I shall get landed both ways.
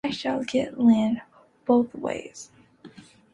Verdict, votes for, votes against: rejected, 0, 2